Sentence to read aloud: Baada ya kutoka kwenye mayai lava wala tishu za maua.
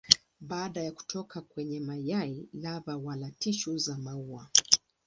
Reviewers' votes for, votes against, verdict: 3, 0, accepted